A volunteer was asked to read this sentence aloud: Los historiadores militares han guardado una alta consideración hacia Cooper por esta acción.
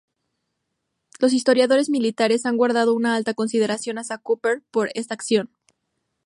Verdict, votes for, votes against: accepted, 2, 0